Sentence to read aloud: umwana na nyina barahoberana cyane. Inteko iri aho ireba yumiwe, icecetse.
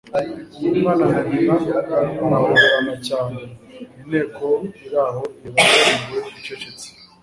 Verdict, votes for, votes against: rejected, 1, 2